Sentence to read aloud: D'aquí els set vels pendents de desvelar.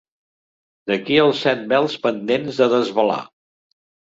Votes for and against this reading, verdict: 2, 0, accepted